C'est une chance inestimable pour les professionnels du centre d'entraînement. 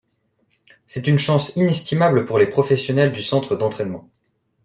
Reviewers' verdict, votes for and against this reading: accepted, 2, 0